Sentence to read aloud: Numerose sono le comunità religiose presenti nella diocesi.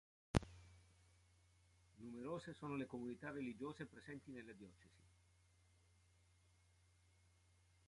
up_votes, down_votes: 1, 2